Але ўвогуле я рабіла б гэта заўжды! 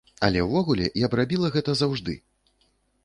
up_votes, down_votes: 0, 2